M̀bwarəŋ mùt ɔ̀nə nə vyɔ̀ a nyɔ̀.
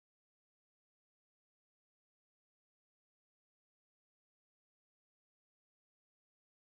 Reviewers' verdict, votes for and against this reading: rejected, 0, 2